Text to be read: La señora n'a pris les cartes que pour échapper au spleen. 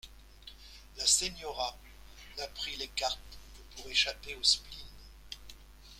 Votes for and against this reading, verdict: 0, 2, rejected